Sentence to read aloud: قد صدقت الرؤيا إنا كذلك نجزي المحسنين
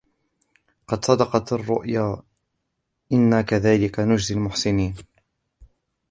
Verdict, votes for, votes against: rejected, 1, 2